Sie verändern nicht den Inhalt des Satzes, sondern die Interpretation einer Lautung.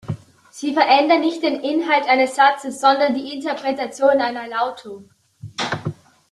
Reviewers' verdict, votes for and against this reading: rejected, 0, 2